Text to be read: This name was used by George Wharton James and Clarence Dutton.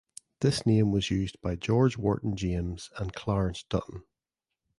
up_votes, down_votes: 2, 0